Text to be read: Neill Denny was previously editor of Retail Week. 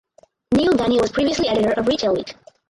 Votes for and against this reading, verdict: 0, 4, rejected